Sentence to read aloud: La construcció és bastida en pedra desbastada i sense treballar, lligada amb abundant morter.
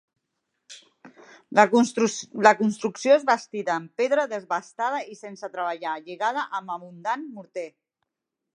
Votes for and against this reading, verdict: 2, 1, accepted